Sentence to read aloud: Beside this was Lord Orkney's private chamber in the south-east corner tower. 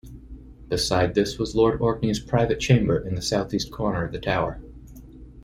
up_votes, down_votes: 1, 2